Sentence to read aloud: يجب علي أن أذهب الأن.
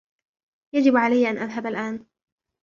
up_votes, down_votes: 2, 0